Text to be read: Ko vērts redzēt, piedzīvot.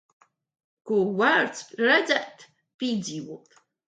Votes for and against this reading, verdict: 1, 2, rejected